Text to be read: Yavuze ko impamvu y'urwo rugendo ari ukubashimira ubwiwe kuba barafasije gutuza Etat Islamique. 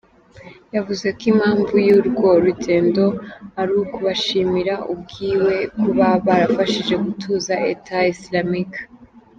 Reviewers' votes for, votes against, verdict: 1, 2, rejected